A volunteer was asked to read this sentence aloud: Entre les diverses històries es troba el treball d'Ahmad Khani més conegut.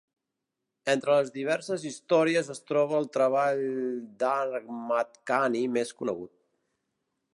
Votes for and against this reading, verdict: 0, 2, rejected